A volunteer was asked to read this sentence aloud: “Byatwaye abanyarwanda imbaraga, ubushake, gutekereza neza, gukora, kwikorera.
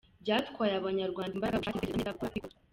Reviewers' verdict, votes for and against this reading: rejected, 0, 2